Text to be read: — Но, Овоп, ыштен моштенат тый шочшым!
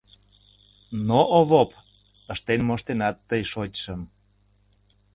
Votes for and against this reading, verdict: 2, 0, accepted